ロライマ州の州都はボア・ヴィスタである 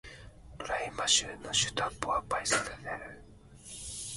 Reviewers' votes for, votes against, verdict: 0, 2, rejected